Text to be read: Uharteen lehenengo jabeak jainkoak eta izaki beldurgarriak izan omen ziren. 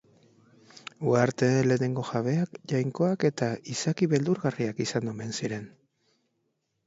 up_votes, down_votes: 2, 1